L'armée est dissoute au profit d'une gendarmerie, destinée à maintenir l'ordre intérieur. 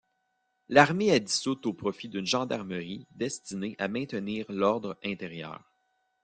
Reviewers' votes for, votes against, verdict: 1, 2, rejected